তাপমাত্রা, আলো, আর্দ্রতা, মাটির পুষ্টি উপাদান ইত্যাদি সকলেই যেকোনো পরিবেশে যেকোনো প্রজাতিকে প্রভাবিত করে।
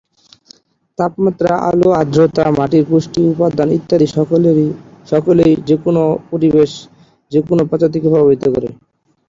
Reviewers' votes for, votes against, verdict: 0, 2, rejected